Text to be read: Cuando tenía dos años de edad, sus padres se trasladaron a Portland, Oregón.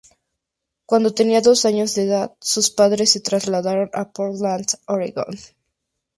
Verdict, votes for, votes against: accepted, 4, 0